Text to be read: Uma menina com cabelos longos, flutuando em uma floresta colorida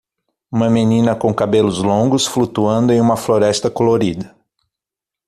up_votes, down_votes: 6, 0